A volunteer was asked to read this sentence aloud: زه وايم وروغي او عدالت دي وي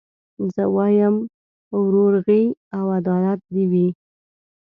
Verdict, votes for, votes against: rejected, 1, 2